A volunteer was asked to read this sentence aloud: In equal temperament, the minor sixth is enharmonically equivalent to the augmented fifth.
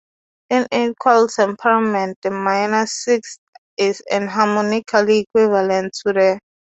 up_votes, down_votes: 0, 2